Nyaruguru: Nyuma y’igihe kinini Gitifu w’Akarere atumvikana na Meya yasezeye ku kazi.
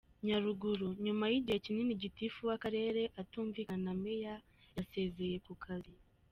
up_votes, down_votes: 2, 0